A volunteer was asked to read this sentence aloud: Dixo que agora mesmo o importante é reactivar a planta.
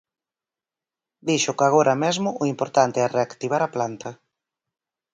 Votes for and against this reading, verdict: 4, 0, accepted